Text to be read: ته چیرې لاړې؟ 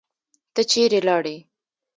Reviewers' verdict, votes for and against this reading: rejected, 1, 2